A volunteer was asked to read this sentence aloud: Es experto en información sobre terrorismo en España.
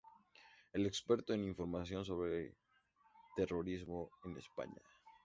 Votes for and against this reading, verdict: 0, 2, rejected